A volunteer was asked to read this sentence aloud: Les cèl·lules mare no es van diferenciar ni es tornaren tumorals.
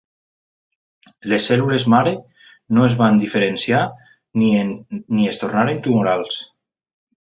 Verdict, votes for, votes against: rejected, 1, 2